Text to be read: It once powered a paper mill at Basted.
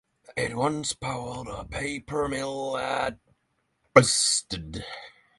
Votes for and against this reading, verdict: 6, 0, accepted